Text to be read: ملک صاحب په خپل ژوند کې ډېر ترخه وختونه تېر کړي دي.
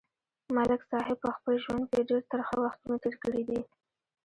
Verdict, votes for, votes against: rejected, 0, 2